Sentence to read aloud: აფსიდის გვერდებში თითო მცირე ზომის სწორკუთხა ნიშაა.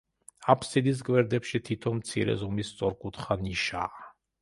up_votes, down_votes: 2, 0